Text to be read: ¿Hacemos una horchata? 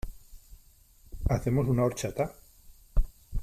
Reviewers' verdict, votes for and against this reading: accepted, 3, 0